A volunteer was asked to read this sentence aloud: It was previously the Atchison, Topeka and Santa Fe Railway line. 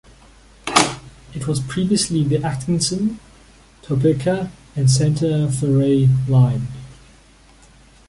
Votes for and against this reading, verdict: 1, 2, rejected